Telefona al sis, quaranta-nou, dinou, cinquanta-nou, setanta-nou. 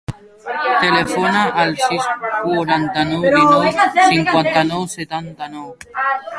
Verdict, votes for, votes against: rejected, 1, 2